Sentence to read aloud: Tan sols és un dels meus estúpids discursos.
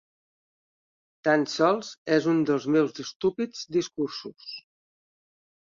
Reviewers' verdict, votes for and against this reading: accepted, 3, 0